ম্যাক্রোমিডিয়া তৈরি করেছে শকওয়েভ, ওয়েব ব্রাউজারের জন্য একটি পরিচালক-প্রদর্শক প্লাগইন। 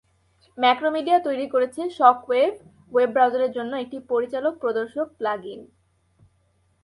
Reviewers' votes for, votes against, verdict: 2, 0, accepted